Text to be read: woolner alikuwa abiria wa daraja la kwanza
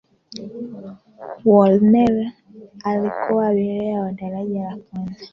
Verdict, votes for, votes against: rejected, 0, 2